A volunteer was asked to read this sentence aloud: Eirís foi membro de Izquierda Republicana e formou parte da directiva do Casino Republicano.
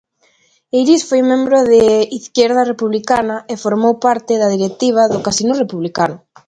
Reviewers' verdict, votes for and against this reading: accepted, 2, 0